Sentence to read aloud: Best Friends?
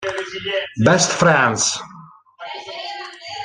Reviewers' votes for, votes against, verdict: 1, 2, rejected